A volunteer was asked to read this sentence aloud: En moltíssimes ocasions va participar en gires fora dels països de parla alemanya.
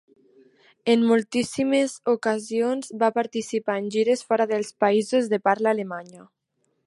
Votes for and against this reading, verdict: 4, 0, accepted